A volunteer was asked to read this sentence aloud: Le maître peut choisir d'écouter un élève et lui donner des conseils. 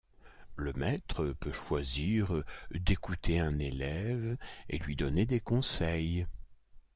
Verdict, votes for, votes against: accepted, 2, 0